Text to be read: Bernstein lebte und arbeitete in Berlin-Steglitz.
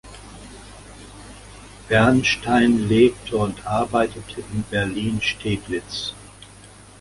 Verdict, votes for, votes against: accepted, 2, 0